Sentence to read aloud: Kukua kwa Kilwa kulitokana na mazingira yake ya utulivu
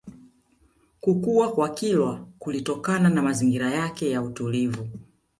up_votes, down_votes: 2, 1